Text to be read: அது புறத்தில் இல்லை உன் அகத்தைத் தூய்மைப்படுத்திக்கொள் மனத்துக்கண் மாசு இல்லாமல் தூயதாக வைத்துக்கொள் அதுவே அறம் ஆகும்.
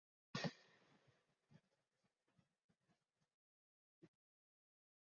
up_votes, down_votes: 0, 2